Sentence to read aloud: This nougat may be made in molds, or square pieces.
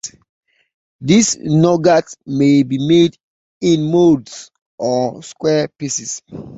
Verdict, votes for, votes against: accepted, 3, 0